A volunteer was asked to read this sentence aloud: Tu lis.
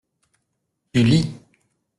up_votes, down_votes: 1, 2